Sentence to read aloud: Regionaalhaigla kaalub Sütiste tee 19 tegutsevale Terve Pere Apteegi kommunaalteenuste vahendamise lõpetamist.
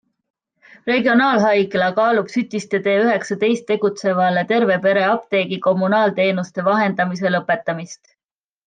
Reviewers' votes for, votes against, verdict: 0, 2, rejected